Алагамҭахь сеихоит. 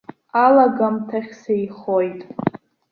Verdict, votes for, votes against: accepted, 2, 0